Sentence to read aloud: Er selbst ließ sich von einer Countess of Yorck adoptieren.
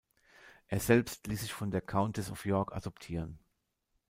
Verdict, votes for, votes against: rejected, 1, 2